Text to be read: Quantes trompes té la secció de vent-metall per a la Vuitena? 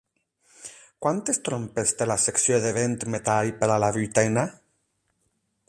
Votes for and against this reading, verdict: 8, 0, accepted